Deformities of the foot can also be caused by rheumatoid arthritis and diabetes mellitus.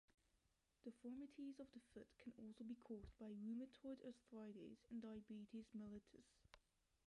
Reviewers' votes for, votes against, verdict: 1, 2, rejected